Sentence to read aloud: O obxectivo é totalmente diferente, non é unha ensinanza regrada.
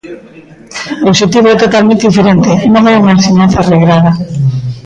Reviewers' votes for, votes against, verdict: 1, 2, rejected